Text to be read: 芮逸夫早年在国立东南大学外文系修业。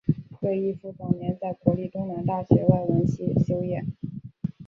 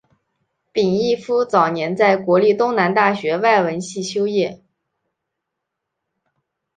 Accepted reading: second